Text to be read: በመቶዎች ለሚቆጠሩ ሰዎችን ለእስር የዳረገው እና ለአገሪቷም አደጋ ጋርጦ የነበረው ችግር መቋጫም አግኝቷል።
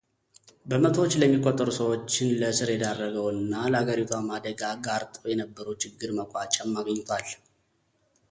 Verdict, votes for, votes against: accepted, 2, 0